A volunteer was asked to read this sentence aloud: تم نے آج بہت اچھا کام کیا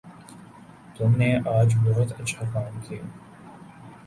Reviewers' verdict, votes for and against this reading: accepted, 3, 0